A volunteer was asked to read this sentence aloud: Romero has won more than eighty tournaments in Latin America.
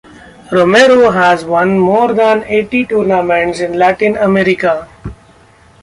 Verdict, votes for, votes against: accepted, 2, 1